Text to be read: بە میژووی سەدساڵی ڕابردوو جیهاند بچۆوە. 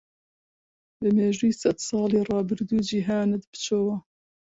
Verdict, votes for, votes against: accepted, 2, 0